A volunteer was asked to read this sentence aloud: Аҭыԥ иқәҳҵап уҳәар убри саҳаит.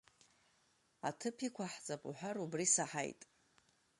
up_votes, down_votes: 0, 2